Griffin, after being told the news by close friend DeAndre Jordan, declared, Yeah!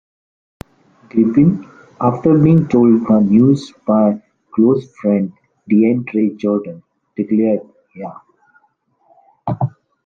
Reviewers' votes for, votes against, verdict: 2, 0, accepted